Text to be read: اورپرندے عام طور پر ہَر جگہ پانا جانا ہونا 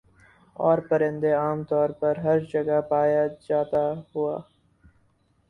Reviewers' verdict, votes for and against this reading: rejected, 2, 6